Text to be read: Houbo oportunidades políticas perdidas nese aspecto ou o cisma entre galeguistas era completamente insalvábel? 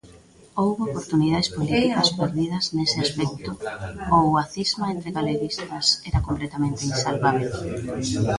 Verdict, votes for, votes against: rejected, 1, 2